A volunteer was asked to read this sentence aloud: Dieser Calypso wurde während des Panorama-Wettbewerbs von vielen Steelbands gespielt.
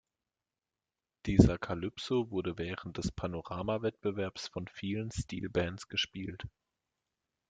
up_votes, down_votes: 2, 1